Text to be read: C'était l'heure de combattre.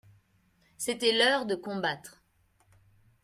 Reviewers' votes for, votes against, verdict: 2, 0, accepted